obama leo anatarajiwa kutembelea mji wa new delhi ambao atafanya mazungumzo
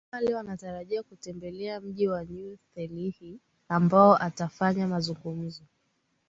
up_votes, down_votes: 3, 1